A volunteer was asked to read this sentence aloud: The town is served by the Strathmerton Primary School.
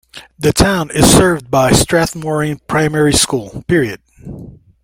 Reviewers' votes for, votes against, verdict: 1, 2, rejected